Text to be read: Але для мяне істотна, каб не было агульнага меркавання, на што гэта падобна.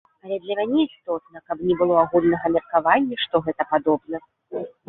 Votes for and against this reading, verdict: 0, 2, rejected